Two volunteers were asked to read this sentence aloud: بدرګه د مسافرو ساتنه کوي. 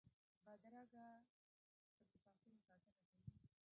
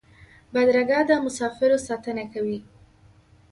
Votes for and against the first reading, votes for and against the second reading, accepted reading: 1, 2, 2, 0, second